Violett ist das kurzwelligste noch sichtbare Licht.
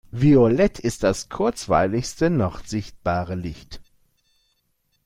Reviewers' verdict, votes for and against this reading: rejected, 1, 2